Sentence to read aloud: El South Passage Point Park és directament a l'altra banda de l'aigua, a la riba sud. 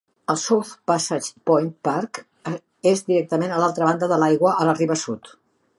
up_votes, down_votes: 3, 0